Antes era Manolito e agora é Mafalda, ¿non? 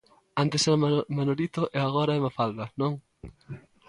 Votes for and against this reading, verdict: 0, 2, rejected